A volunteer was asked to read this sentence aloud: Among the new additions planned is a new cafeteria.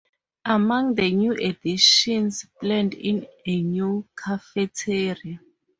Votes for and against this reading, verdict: 0, 4, rejected